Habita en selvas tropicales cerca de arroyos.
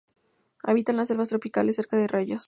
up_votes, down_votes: 2, 0